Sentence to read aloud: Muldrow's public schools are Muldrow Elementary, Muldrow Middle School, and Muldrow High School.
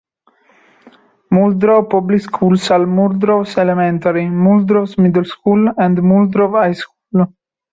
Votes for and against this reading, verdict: 0, 2, rejected